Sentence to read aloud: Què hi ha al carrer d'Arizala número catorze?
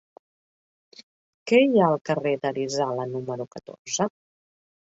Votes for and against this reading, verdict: 2, 0, accepted